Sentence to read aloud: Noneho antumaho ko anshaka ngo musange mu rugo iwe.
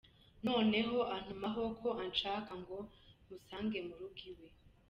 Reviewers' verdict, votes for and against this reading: accepted, 2, 0